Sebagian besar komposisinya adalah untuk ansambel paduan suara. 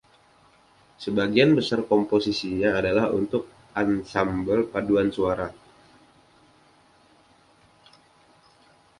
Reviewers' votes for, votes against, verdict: 2, 0, accepted